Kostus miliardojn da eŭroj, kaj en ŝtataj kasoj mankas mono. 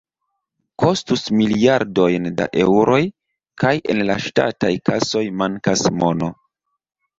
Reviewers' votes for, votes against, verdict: 2, 3, rejected